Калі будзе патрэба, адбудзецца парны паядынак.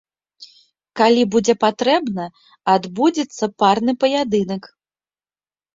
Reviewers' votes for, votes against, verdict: 1, 2, rejected